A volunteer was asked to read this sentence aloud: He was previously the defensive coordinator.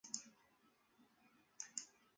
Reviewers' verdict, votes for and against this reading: rejected, 0, 2